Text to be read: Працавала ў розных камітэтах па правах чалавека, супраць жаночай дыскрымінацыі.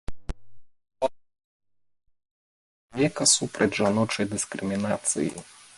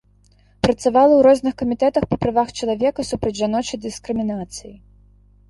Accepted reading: second